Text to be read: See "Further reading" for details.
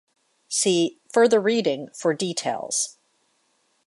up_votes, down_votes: 2, 0